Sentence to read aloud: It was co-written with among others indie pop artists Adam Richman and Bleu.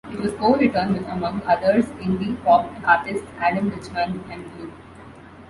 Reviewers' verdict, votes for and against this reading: rejected, 1, 2